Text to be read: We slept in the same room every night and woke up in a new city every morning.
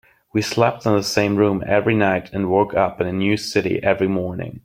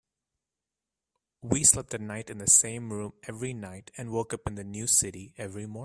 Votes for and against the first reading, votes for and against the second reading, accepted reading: 2, 0, 1, 2, first